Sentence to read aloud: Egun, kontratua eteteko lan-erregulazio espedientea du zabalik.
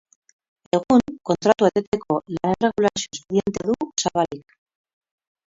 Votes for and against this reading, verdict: 2, 2, rejected